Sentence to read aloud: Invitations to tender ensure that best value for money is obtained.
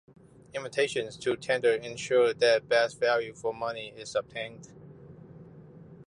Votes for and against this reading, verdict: 2, 1, accepted